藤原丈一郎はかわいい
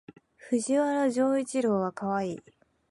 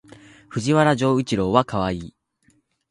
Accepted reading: first